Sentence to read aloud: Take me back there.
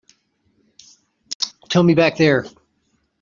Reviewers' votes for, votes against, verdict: 1, 3, rejected